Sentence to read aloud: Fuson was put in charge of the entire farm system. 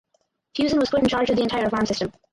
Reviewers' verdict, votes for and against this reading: rejected, 0, 4